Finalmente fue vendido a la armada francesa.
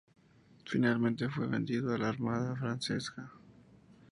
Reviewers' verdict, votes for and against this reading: accepted, 2, 0